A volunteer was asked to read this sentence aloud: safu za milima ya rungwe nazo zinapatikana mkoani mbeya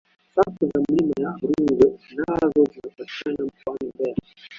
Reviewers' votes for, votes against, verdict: 3, 2, accepted